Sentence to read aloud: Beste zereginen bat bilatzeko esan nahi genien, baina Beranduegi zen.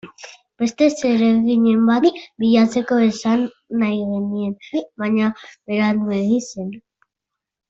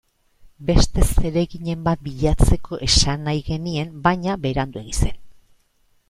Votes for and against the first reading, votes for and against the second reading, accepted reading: 1, 2, 2, 0, second